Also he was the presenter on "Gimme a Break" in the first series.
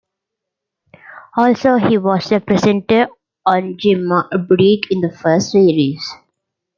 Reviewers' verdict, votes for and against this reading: rejected, 0, 2